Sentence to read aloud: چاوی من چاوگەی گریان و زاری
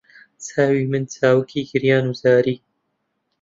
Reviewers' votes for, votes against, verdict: 0, 2, rejected